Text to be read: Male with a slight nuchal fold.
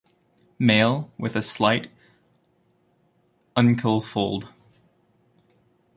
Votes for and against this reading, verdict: 0, 2, rejected